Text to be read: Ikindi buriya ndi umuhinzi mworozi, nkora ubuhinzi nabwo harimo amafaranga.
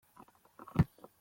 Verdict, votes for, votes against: rejected, 0, 2